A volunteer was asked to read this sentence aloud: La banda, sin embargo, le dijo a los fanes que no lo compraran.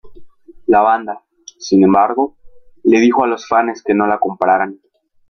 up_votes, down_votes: 2, 1